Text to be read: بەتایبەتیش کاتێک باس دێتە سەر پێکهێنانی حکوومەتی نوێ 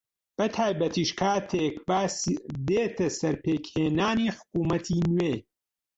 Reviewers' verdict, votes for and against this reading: rejected, 0, 2